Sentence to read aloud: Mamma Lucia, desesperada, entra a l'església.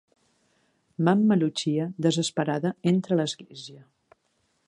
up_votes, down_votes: 2, 0